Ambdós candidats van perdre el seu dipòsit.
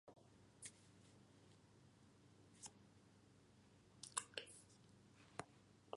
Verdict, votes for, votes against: rejected, 0, 2